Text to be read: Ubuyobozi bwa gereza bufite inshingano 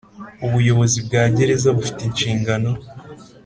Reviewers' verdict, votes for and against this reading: accepted, 3, 0